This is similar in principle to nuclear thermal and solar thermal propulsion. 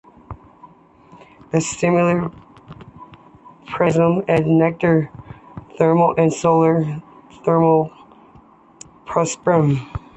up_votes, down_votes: 2, 1